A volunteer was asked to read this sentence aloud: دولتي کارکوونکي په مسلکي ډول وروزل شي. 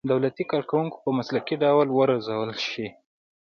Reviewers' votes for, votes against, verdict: 1, 2, rejected